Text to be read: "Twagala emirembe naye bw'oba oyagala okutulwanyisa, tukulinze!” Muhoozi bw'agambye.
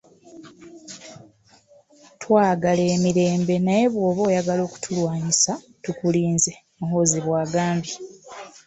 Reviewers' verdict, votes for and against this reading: accepted, 2, 1